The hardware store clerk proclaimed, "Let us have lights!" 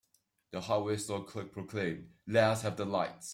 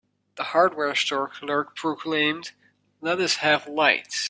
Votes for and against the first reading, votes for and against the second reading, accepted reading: 0, 2, 2, 1, second